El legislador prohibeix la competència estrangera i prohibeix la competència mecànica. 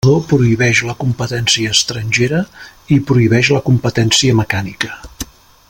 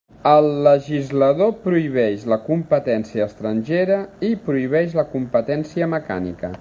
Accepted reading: second